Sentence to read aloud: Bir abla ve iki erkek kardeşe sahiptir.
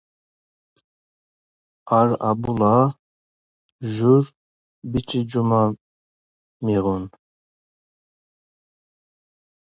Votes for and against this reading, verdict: 0, 2, rejected